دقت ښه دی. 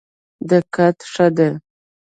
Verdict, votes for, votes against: rejected, 0, 2